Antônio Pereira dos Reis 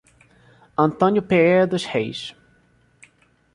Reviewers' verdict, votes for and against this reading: rejected, 1, 2